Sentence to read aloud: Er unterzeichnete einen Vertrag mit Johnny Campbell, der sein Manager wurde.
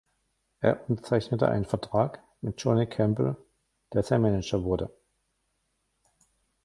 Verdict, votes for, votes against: rejected, 1, 2